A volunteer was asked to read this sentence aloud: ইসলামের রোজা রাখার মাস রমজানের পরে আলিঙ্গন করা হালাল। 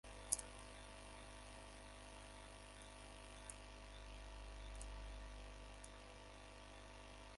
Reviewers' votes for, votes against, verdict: 0, 2, rejected